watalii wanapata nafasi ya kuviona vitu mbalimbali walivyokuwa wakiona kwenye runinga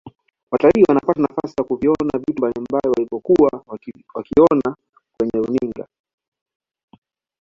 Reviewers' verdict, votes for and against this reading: accepted, 2, 1